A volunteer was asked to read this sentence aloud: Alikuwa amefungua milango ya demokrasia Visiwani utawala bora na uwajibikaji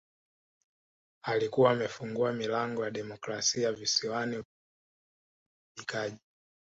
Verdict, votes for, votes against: accepted, 2, 1